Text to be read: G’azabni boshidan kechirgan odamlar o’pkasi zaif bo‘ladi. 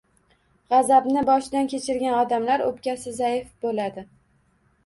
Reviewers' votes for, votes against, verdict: 2, 0, accepted